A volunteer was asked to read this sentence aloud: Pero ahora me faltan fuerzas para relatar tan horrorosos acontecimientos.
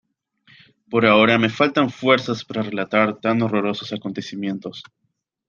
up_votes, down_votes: 2, 0